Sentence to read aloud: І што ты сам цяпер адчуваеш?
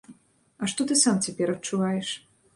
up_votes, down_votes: 0, 2